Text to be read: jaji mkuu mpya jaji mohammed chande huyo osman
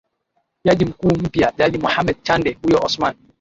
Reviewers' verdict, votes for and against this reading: rejected, 1, 2